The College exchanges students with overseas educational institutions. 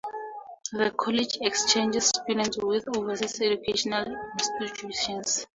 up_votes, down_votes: 0, 2